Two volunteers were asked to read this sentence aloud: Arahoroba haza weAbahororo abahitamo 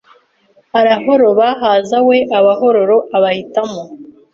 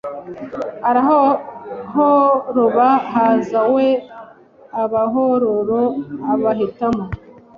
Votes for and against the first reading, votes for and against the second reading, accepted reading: 3, 0, 0, 2, first